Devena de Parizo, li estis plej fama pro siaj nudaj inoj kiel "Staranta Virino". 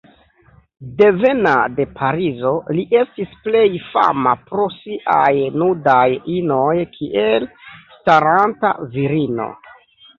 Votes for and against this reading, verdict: 2, 1, accepted